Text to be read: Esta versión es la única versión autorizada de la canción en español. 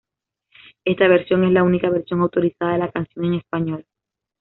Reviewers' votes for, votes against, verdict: 2, 0, accepted